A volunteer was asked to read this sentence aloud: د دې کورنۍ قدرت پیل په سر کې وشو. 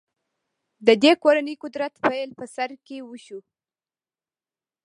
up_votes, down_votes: 1, 2